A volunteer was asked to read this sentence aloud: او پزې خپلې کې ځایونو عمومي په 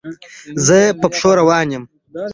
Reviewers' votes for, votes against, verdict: 0, 2, rejected